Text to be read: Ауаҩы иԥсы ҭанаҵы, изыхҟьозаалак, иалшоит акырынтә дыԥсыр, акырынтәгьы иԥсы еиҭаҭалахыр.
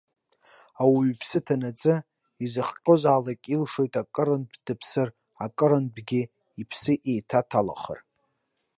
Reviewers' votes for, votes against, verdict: 2, 1, accepted